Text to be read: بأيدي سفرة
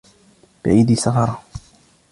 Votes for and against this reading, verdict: 2, 0, accepted